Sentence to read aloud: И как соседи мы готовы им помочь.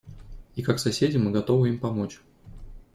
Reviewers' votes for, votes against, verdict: 2, 0, accepted